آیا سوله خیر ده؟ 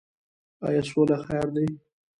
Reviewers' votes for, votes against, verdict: 2, 1, accepted